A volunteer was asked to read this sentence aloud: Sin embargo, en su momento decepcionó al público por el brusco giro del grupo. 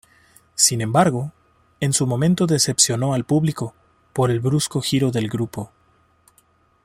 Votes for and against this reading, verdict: 2, 0, accepted